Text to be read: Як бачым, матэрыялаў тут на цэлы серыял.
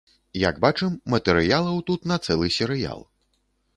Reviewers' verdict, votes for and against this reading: accepted, 2, 0